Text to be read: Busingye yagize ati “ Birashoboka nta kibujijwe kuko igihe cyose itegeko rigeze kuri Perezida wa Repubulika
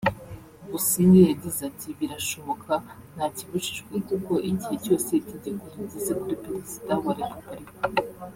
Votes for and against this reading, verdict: 0, 2, rejected